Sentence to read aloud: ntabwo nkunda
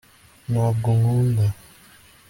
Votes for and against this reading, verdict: 2, 0, accepted